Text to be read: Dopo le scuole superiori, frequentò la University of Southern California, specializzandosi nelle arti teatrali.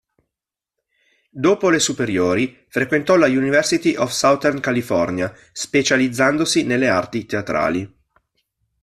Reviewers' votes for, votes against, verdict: 1, 2, rejected